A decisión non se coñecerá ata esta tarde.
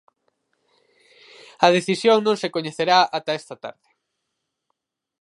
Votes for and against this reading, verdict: 4, 0, accepted